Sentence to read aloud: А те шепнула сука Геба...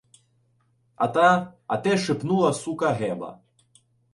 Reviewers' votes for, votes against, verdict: 0, 2, rejected